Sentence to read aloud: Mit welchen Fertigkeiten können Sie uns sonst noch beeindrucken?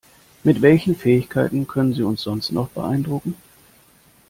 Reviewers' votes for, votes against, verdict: 0, 2, rejected